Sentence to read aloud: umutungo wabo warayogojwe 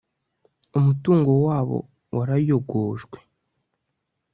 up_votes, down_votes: 2, 0